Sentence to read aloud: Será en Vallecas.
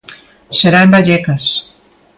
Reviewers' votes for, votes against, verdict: 2, 0, accepted